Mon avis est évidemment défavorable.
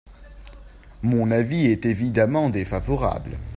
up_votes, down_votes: 2, 0